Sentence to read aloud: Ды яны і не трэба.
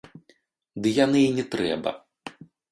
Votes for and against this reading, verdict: 0, 2, rejected